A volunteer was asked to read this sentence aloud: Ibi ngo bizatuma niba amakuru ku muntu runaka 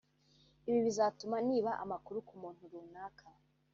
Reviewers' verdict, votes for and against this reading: rejected, 1, 2